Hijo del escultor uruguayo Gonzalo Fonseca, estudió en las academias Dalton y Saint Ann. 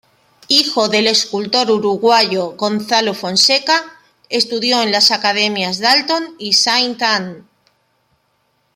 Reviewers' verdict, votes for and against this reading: accepted, 2, 0